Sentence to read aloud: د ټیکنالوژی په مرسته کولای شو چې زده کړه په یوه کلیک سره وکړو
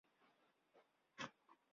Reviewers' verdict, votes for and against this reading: rejected, 0, 2